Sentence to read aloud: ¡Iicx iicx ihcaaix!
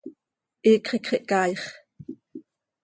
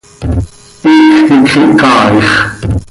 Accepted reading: first